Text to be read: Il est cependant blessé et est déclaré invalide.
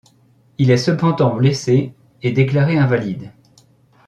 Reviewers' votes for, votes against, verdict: 0, 2, rejected